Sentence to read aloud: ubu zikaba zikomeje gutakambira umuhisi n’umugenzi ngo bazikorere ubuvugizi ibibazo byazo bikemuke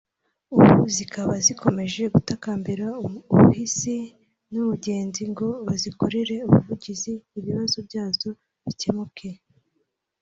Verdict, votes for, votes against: rejected, 1, 3